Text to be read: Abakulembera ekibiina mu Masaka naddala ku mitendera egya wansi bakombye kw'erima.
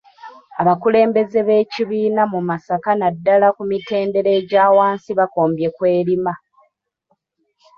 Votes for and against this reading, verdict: 0, 2, rejected